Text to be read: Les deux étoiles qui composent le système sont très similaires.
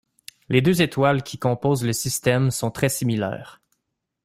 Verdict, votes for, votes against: accepted, 2, 0